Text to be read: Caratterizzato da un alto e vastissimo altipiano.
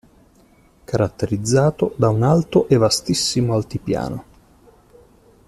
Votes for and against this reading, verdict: 2, 0, accepted